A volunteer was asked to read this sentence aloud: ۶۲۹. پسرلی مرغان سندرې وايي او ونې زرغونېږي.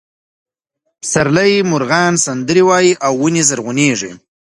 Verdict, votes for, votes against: rejected, 0, 2